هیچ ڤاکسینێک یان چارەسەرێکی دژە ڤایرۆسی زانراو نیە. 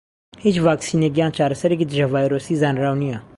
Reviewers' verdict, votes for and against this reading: accepted, 2, 0